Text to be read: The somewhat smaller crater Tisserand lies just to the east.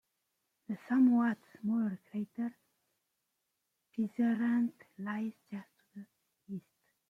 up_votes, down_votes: 2, 0